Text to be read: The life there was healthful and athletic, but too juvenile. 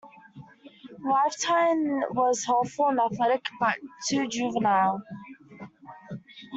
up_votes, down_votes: 0, 2